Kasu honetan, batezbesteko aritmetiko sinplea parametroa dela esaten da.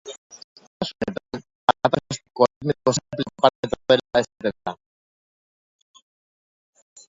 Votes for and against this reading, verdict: 1, 3, rejected